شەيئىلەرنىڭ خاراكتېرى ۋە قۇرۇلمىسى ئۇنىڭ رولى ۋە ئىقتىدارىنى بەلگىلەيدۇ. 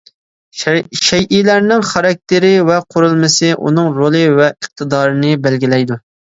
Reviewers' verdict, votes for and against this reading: rejected, 1, 2